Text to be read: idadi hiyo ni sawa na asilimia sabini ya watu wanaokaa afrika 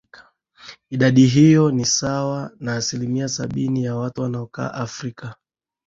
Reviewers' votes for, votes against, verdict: 4, 1, accepted